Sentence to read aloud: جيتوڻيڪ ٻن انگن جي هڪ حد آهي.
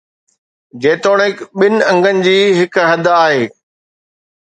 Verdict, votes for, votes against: accepted, 2, 0